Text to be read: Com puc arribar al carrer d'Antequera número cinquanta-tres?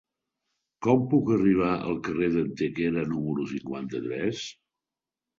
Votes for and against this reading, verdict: 4, 0, accepted